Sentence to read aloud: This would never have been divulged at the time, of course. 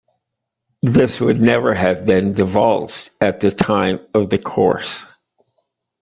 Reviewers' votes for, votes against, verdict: 1, 2, rejected